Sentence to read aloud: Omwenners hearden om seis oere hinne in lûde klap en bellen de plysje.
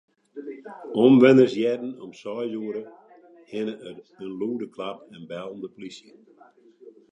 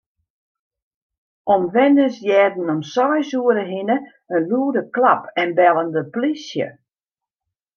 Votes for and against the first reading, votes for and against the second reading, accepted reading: 1, 2, 2, 0, second